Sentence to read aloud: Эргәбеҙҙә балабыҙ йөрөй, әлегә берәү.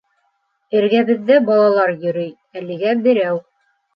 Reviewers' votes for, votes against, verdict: 0, 2, rejected